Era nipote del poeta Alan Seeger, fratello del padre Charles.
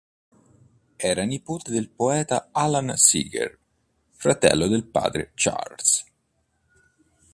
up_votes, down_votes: 2, 0